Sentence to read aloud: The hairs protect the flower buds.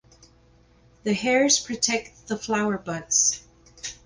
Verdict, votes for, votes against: accepted, 4, 0